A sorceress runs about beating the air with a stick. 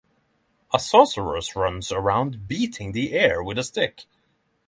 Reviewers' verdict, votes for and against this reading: rejected, 3, 3